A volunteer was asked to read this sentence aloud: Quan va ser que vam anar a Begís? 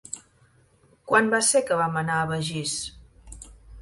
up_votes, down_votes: 12, 3